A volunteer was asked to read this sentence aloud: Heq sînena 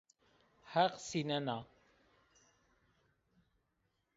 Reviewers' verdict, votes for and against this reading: accepted, 2, 0